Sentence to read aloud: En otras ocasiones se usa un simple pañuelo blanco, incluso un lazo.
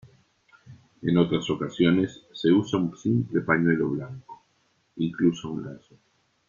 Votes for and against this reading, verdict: 2, 0, accepted